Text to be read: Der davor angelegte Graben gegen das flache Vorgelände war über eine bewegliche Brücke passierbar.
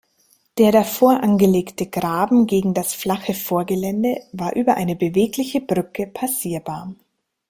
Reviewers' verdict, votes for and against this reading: rejected, 1, 2